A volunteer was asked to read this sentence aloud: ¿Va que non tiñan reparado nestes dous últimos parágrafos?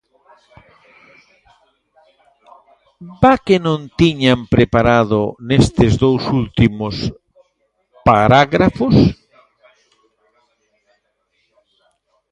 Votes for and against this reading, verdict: 0, 2, rejected